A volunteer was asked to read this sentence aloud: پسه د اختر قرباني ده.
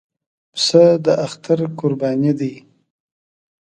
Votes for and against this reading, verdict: 2, 0, accepted